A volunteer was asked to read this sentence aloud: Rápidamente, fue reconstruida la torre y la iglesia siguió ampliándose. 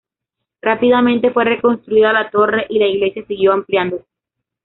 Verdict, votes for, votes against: rejected, 0, 2